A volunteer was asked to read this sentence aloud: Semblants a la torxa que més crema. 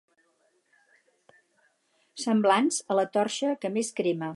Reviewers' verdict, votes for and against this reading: rejected, 2, 2